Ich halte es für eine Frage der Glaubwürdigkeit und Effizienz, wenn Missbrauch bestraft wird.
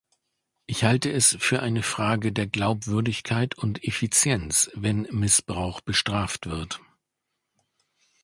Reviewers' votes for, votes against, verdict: 2, 0, accepted